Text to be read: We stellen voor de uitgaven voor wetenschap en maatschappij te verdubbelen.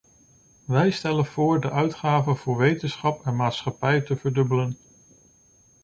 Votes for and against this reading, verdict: 0, 2, rejected